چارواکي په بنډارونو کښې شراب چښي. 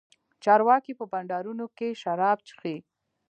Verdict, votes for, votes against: accepted, 2, 0